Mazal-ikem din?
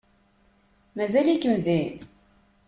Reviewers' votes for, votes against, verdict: 2, 0, accepted